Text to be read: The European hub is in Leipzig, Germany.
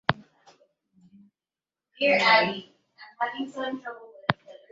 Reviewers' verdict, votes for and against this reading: rejected, 0, 3